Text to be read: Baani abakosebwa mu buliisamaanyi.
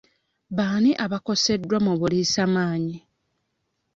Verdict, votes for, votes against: rejected, 1, 2